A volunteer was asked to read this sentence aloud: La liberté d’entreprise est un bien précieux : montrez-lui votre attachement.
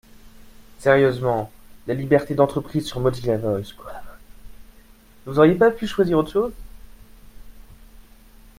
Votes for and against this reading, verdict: 0, 2, rejected